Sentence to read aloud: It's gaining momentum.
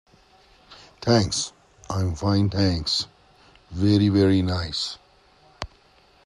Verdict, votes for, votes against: rejected, 0, 2